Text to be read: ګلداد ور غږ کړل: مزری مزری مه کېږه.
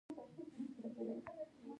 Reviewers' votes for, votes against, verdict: 1, 2, rejected